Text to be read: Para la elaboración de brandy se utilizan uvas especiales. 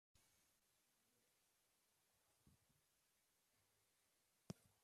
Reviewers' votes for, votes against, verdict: 0, 2, rejected